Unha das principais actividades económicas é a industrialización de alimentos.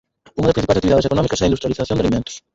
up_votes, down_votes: 0, 4